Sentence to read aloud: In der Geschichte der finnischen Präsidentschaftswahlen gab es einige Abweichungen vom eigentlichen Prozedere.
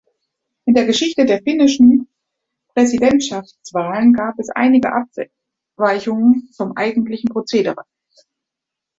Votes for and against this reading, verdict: 0, 2, rejected